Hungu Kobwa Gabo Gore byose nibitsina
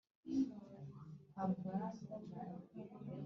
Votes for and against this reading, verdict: 1, 2, rejected